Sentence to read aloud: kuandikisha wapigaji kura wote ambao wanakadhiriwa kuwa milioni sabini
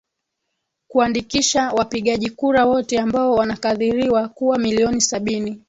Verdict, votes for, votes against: accepted, 2, 0